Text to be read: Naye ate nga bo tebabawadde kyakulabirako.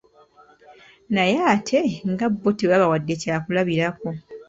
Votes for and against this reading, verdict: 3, 1, accepted